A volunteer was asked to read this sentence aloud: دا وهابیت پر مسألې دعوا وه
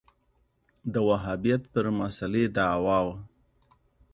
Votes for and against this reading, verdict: 2, 0, accepted